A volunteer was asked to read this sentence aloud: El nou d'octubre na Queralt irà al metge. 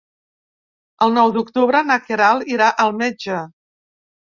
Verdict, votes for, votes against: accepted, 3, 0